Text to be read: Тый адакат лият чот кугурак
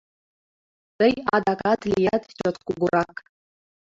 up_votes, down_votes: 1, 2